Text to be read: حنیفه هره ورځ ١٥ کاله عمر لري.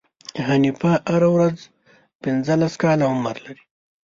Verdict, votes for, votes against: rejected, 0, 2